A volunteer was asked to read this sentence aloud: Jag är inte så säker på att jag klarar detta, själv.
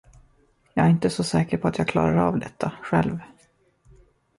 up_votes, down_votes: 1, 2